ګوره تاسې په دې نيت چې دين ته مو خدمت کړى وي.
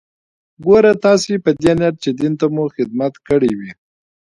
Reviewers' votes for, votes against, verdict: 2, 0, accepted